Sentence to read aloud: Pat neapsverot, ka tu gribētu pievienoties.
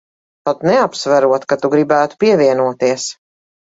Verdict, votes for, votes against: accepted, 2, 0